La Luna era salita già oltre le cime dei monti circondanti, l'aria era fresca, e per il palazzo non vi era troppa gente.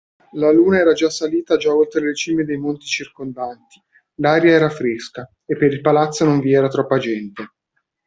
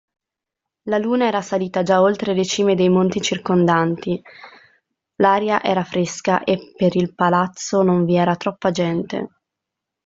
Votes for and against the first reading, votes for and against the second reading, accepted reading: 1, 2, 2, 1, second